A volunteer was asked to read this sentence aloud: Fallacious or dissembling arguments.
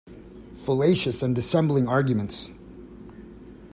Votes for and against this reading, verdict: 0, 2, rejected